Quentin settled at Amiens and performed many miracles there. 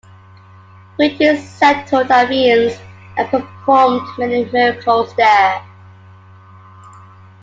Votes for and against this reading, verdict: 2, 1, accepted